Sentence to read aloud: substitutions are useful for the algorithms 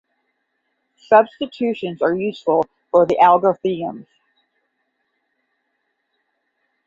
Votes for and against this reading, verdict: 0, 10, rejected